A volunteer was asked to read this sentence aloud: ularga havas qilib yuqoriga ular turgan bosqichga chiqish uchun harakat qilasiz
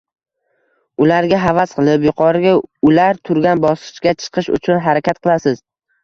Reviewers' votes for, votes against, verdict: 0, 2, rejected